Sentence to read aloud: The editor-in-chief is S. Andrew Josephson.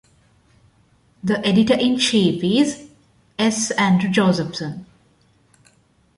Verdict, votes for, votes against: accepted, 2, 0